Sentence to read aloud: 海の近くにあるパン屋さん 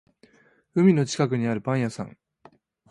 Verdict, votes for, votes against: accepted, 2, 0